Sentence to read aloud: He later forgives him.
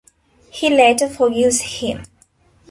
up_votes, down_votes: 2, 1